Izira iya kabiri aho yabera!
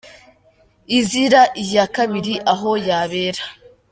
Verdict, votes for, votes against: accepted, 2, 0